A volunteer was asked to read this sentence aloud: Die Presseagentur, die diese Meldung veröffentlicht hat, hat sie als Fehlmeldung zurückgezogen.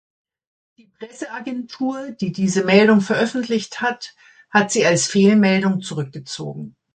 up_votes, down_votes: 0, 2